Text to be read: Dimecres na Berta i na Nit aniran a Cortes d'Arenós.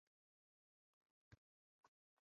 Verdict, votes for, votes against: rejected, 0, 2